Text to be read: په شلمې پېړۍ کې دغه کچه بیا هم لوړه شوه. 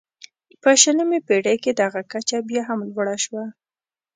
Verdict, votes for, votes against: accepted, 2, 0